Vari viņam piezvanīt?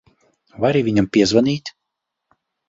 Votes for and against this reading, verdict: 0, 2, rejected